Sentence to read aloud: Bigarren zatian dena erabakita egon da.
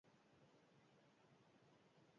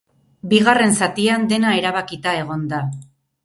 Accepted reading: second